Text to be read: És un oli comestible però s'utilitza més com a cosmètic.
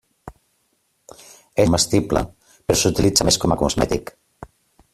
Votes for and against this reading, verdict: 0, 2, rejected